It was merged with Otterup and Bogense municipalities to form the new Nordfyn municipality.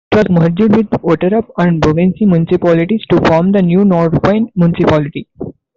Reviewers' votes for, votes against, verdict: 0, 2, rejected